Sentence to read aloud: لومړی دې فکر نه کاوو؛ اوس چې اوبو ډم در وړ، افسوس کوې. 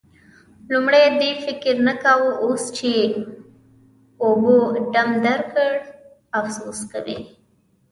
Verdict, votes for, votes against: rejected, 1, 2